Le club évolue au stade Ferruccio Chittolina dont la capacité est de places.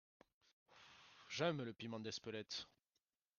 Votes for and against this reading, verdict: 0, 2, rejected